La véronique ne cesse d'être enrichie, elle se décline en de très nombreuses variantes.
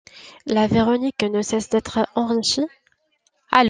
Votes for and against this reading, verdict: 0, 3, rejected